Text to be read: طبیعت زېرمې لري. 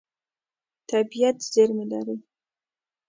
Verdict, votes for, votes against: accepted, 2, 0